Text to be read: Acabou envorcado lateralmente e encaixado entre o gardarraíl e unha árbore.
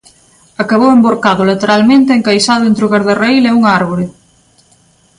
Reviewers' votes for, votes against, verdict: 2, 0, accepted